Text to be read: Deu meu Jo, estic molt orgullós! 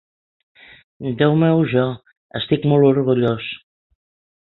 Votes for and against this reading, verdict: 4, 0, accepted